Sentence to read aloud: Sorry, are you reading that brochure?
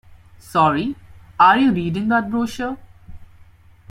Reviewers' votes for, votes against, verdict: 2, 0, accepted